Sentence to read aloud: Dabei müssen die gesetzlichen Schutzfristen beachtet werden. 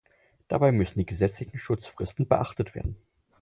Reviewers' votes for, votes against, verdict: 4, 0, accepted